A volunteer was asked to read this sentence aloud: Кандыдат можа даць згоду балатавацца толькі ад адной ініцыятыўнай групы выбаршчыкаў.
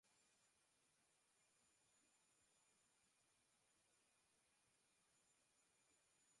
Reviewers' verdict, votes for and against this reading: rejected, 0, 2